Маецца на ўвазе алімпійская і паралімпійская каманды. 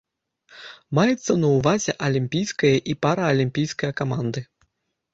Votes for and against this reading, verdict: 1, 2, rejected